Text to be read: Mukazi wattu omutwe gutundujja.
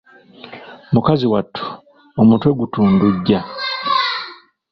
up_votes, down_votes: 2, 0